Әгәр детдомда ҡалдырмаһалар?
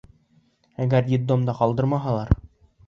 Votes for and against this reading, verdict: 2, 0, accepted